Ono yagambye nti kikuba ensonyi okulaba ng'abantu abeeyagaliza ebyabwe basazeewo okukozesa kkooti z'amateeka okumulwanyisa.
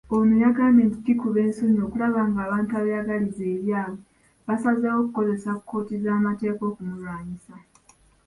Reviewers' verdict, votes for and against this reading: accepted, 2, 1